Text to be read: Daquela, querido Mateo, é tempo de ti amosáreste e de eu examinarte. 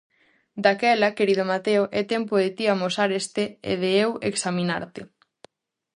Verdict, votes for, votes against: rejected, 0, 2